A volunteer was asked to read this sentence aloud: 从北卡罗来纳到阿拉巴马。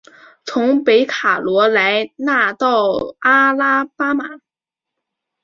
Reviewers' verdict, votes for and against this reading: accepted, 2, 1